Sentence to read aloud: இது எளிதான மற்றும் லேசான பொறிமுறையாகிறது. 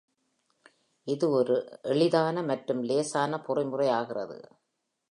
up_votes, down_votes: 1, 2